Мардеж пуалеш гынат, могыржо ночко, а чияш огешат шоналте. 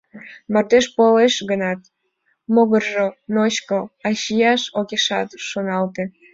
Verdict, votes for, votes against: accepted, 2, 0